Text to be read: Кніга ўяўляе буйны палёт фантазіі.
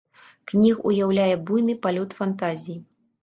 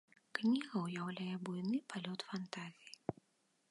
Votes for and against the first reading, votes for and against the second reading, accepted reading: 0, 2, 2, 1, second